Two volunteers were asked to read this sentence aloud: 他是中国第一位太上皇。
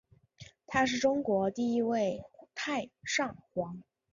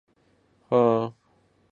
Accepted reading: first